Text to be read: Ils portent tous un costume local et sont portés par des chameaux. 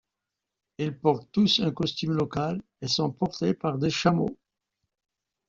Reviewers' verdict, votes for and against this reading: accepted, 2, 0